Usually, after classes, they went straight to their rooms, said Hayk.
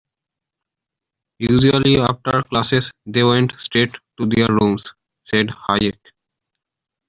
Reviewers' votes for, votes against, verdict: 2, 0, accepted